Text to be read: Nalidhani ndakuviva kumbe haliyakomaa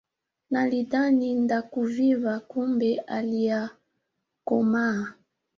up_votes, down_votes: 2, 0